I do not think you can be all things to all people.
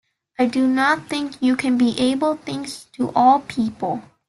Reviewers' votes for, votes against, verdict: 0, 2, rejected